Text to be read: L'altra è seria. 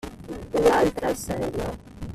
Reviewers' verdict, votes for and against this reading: rejected, 0, 2